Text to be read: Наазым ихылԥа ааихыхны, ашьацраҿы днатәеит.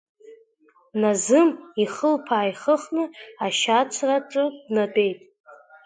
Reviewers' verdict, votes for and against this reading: accepted, 2, 1